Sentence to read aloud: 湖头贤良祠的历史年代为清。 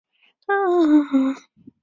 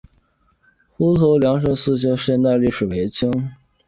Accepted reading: second